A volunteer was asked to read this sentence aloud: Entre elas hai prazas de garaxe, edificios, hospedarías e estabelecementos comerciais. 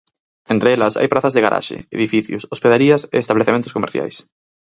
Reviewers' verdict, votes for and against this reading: rejected, 0, 4